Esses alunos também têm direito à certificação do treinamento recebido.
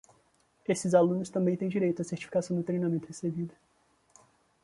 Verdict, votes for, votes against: accepted, 2, 0